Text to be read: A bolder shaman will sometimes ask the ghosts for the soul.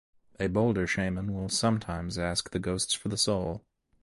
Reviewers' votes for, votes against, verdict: 2, 0, accepted